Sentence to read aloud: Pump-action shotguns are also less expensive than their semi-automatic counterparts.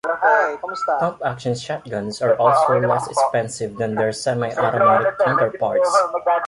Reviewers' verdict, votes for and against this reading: rejected, 1, 2